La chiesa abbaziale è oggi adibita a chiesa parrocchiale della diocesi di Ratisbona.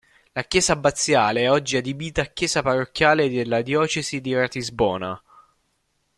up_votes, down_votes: 2, 0